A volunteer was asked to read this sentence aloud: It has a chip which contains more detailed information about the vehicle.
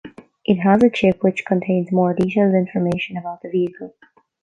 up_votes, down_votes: 0, 2